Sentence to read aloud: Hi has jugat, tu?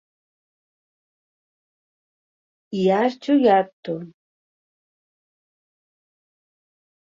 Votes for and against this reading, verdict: 1, 2, rejected